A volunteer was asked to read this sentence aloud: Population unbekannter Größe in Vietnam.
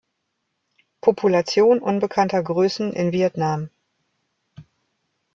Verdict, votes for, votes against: rejected, 1, 3